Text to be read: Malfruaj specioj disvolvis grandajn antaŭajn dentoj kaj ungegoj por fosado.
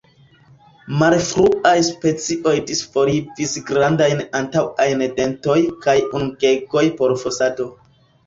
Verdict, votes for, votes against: rejected, 1, 2